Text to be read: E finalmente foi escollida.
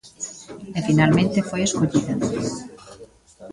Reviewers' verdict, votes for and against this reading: accepted, 2, 0